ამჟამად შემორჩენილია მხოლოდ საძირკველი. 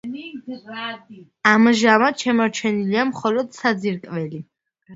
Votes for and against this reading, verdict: 2, 1, accepted